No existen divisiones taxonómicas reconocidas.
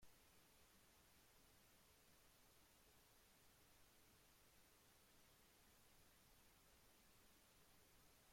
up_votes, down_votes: 0, 2